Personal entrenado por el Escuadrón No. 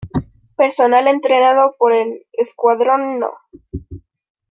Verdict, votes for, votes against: rejected, 1, 2